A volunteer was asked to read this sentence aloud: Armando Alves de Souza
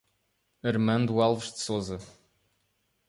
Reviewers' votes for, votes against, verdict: 2, 0, accepted